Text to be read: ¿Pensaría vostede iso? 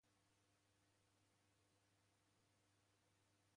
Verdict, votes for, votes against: rejected, 0, 2